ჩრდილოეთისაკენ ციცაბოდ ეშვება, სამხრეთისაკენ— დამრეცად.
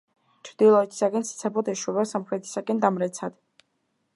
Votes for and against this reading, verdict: 2, 0, accepted